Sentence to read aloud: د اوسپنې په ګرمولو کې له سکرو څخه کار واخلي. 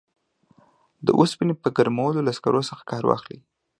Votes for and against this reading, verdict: 2, 0, accepted